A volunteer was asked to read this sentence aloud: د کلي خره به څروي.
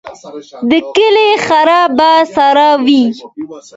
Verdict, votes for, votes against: accepted, 2, 1